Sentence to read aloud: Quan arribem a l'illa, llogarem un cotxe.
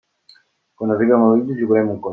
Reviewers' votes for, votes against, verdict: 0, 2, rejected